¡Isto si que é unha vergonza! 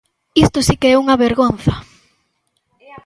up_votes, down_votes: 1, 2